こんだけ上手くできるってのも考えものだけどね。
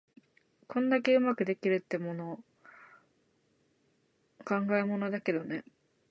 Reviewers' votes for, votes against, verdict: 2, 4, rejected